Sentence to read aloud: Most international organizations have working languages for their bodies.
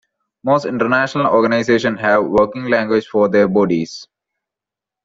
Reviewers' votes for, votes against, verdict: 0, 2, rejected